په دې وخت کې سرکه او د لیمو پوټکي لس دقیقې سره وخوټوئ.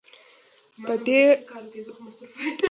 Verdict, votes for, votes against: rejected, 0, 2